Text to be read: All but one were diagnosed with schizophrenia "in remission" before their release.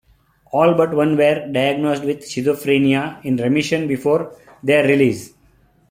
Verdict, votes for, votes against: accepted, 2, 0